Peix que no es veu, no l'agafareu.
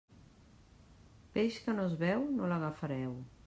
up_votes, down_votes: 3, 0